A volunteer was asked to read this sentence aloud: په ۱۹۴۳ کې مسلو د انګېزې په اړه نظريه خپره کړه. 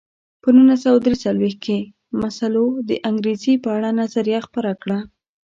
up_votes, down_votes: 0, 2